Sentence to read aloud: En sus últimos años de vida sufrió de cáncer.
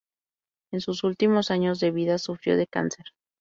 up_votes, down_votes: 2, 0